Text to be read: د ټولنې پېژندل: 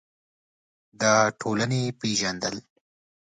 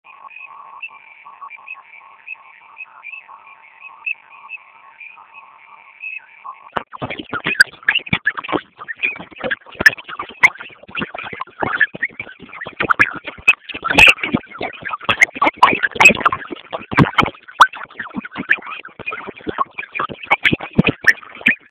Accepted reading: first